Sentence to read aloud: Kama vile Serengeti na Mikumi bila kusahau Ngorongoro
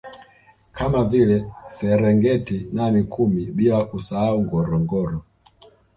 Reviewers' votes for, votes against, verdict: 1, 2, rejected